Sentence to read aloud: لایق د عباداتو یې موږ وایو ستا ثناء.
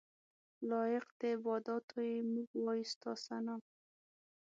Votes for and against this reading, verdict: 6, 0, accepted